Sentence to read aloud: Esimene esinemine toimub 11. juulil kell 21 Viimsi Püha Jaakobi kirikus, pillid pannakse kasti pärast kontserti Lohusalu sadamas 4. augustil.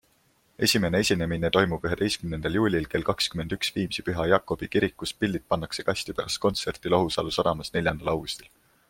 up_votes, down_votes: 0, 2